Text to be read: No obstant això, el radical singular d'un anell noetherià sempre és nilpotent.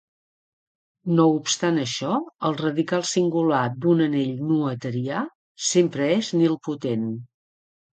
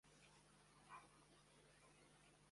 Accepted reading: first